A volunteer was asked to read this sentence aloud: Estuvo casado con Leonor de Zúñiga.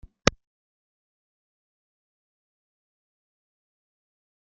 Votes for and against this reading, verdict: 0, 2, rejected